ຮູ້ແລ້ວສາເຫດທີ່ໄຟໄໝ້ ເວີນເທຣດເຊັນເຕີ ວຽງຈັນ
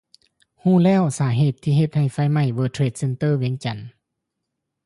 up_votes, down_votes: 2, 0